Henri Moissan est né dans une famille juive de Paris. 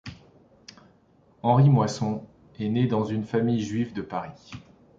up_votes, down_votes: 1, 2